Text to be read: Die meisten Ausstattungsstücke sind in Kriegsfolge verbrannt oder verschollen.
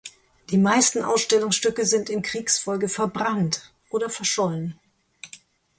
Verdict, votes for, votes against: rejected, 0, 4